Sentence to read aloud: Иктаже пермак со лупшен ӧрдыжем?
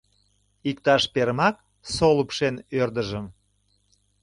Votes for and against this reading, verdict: 0, 2, rejected